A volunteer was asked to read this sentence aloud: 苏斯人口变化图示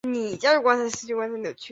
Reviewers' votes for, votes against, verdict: 0, 2, rejected